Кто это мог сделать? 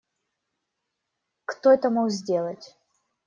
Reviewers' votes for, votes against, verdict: 2, 0, accepted